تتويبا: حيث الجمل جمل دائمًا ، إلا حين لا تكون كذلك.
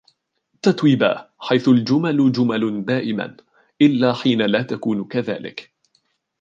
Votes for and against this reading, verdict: 1, 2, rejected